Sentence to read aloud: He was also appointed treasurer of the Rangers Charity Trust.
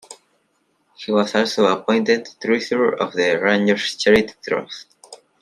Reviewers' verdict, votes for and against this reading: rejected, 1, 2